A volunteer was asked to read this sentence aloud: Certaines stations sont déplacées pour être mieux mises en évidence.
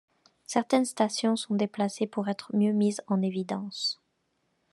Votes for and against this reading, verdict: 2, 0, accepted